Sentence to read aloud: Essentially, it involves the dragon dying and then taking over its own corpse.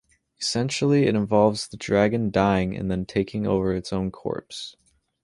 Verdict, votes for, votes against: accepted, 2, 0